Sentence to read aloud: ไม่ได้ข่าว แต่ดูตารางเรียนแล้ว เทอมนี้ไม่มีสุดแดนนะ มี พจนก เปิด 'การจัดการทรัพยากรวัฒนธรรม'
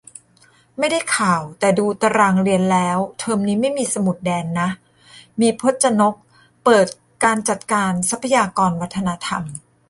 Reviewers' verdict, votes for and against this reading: rejected, 1, 2